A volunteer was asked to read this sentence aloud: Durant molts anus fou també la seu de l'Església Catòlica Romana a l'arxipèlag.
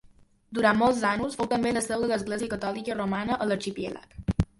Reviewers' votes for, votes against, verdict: 1, 2, rejected